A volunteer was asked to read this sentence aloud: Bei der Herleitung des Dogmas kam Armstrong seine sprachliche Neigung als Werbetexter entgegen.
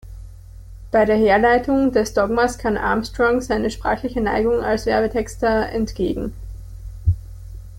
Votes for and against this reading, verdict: 1, 2, rejected